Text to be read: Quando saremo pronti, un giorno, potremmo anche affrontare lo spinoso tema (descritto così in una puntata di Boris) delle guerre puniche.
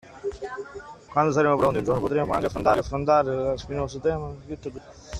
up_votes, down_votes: 0, 2